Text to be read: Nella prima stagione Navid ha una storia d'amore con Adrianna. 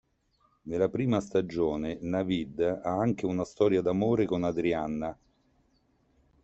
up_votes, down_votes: 0, 2